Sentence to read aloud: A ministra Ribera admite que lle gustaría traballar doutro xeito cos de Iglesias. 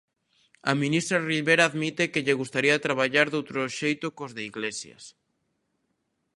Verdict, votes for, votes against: accepted, 2, 0